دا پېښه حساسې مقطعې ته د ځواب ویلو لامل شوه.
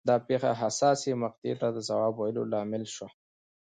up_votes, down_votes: 2, 0